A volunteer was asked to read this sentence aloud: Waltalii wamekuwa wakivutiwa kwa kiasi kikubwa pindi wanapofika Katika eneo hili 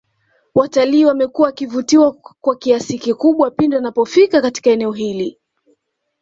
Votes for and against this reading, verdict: 2, 0, accepted